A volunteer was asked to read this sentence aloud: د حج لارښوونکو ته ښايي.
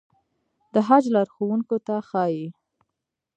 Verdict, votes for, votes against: rejected, 2, 3